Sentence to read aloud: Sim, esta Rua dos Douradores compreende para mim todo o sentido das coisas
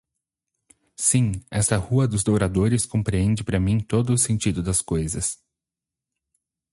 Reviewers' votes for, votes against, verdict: 2, 2, rejected